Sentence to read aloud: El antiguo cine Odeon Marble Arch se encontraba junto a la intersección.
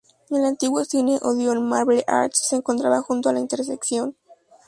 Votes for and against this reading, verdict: 2, 0, accepted